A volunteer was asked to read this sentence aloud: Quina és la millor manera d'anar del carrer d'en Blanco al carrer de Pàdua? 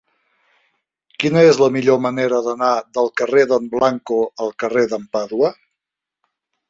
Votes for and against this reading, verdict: 0, 2, rejected